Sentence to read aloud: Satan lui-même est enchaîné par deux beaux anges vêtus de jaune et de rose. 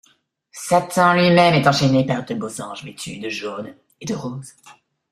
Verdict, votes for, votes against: rejected, 0, 2